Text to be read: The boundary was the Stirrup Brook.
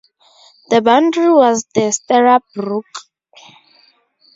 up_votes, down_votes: 0, 2